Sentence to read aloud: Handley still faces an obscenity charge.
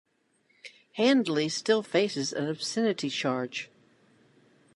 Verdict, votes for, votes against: accepted, 2, 0